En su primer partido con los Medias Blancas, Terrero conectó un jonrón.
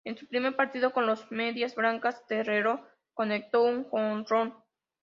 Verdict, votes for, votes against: accepted, 2, 0